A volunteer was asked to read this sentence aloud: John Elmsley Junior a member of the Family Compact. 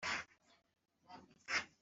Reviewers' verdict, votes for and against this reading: rejected, 0, 2